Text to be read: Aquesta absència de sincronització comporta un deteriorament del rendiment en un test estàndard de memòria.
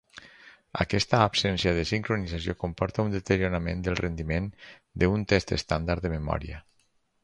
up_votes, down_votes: 2, 2